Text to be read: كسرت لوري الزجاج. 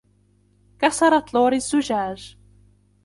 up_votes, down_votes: 2, 1